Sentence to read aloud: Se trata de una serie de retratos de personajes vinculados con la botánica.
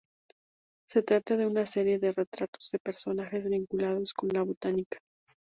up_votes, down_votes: 4, 0